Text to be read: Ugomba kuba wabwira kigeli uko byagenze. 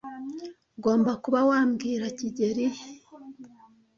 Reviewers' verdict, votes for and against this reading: rejected, 0, 2